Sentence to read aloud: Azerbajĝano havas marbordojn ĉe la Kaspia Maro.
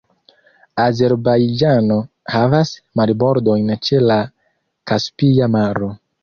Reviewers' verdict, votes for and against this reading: accepted, 2, 1